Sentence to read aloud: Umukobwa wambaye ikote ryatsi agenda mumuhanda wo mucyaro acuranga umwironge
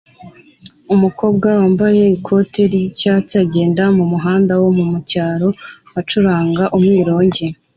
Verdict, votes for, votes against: accepted, 2, 0